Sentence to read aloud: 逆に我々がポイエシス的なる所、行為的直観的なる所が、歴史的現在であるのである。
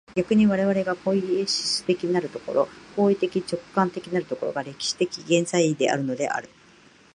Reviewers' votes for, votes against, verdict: 2, 0, accepted